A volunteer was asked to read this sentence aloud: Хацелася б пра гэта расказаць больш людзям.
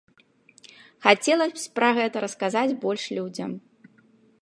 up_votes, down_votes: 0, 3